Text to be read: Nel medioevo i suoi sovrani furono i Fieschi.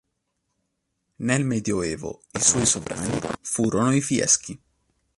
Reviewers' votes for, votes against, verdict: 0, 2, rejected